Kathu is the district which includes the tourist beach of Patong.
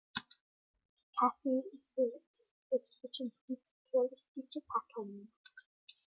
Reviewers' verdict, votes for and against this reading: rejected, 0, 2